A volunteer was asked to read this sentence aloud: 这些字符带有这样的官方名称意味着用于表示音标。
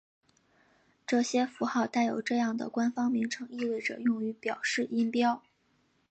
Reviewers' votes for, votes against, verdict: 4, 9, rejected